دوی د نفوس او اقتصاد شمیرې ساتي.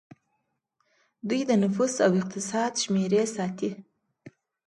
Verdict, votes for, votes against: accepted, 2, 0